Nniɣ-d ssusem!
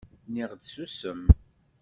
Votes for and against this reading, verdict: 2, 0, accepted